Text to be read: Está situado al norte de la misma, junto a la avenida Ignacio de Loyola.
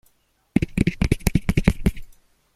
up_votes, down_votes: 0, 2